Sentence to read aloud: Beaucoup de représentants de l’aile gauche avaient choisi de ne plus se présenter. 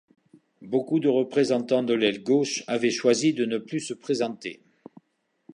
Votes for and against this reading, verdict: 2, 0, accepted